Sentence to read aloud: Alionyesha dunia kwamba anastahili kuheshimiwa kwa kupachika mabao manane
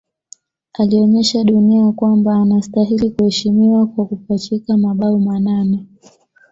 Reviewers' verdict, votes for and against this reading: accepted, 2, 0